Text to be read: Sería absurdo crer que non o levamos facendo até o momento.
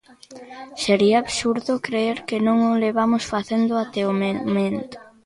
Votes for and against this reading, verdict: 0, 2, rejected